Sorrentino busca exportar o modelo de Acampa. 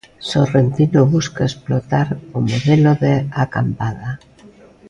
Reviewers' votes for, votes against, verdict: 0, 2, rejected